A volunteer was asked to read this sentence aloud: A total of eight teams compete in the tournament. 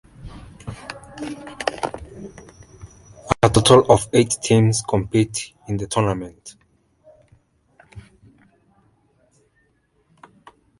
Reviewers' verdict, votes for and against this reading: rejected, 0, 2